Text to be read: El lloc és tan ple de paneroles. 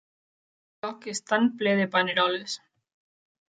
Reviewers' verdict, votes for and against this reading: rejected, 1, 2